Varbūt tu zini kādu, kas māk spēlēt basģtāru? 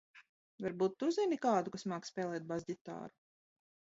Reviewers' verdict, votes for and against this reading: accepted, 2, 0